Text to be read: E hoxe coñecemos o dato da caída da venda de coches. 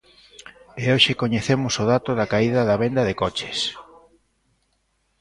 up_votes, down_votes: 0, 2